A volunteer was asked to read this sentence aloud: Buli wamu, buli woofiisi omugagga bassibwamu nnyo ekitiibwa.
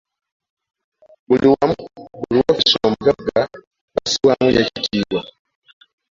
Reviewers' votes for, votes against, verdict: 2, 1, accepted